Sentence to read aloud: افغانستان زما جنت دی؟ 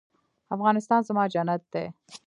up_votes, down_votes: 2, 0